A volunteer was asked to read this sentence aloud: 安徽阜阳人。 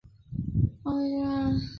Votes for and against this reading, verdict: 0, 6, rejected